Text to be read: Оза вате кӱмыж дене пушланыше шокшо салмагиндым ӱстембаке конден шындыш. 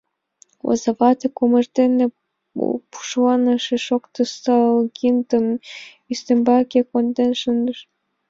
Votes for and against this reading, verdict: 1, 3, rejected